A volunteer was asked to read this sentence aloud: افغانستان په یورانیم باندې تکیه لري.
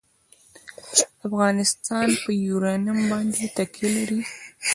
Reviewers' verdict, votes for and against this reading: accepted, 2, 0